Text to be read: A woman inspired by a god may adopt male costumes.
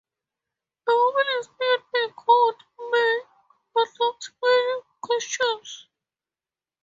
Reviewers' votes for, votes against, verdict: 0, 2, rejected